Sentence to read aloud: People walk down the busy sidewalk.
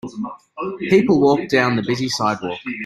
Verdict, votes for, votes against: accepted, 2, 0